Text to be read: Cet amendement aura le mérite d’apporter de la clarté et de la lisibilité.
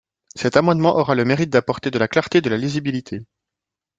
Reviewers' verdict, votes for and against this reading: rejected, 1, 2